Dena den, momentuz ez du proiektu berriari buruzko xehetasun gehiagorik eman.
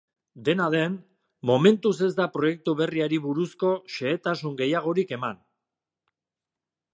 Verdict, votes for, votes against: rejected, 0, 2